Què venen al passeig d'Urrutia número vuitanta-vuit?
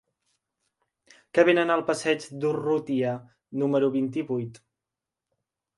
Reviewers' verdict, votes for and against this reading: rejected, 2, 4